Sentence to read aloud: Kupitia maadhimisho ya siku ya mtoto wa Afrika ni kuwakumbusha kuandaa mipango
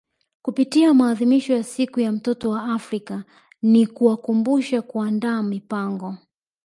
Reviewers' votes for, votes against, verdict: 1, 2, rejected